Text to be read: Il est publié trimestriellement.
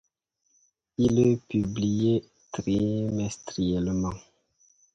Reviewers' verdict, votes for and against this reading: rejected, 0, 2